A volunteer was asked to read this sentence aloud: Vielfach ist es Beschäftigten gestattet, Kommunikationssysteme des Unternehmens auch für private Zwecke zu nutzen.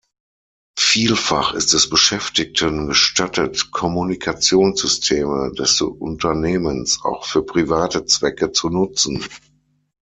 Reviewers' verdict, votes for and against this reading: rejected, 3, 6